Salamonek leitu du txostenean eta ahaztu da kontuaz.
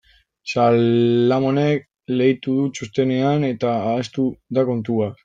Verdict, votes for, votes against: rejected, 0, 2